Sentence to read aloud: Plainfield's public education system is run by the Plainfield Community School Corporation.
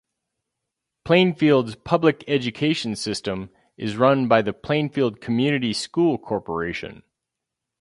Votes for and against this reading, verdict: 2, 2, rejected